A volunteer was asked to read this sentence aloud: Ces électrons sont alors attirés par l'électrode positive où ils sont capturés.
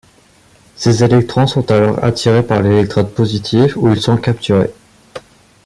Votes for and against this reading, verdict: 2, 0, accepted